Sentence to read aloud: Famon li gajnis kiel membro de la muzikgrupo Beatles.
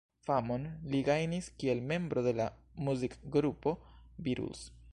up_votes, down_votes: 1, 2